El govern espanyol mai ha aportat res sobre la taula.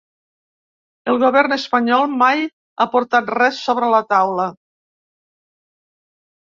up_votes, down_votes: 1, 2